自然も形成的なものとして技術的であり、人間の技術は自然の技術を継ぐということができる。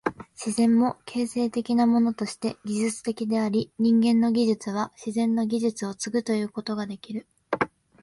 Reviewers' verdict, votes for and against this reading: accepted, 2, 0